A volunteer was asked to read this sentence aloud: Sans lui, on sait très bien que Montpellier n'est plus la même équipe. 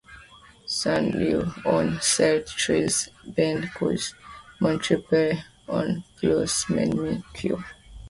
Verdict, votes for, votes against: rejected, 0, 2